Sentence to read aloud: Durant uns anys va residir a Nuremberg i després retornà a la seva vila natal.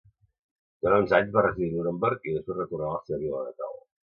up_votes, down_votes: 0, 2